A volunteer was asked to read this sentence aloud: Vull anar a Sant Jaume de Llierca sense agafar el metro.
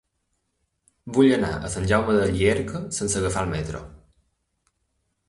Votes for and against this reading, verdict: 3, 1, accepted